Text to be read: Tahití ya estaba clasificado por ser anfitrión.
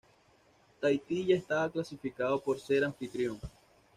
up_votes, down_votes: 2, 0